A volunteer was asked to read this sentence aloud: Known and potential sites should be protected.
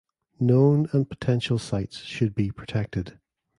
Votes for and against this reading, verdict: 2, 0, accepted